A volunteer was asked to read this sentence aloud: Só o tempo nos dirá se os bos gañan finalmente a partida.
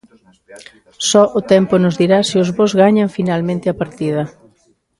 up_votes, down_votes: 2, 0